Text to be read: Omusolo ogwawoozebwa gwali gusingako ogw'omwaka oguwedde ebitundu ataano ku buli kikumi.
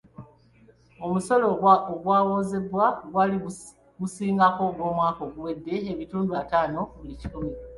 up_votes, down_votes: 0, 2